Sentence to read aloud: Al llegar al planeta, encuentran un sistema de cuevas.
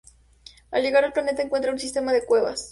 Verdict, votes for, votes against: accepted, 2, 0